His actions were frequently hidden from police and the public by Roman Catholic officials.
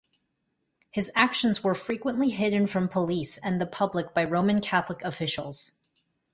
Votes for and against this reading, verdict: 2, 0, accepted